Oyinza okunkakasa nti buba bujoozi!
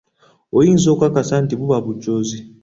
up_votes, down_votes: 1, 2